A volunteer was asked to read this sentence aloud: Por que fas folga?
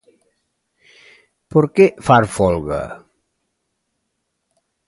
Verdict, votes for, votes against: accepted, 2, 0